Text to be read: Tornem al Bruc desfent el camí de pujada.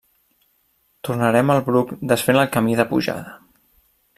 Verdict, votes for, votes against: rejected, 0, 2